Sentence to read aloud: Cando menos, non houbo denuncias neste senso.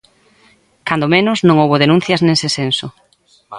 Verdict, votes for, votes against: rejected, 1, 2